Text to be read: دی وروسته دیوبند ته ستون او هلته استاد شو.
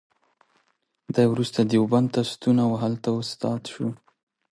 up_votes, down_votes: 2, 0